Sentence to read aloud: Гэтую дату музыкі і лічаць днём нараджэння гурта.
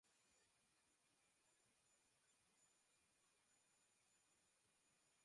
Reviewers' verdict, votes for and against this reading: rejected, 0, 2